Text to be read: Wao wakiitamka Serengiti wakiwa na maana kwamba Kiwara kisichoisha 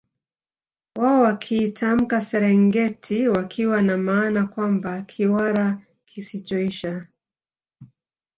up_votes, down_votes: 2, 0